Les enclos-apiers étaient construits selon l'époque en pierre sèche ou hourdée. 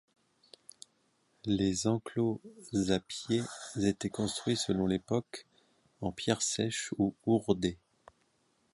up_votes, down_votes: 2, 0